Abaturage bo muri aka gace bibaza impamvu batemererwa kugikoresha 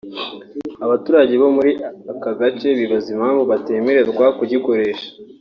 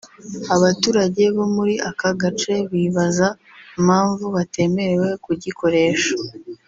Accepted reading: first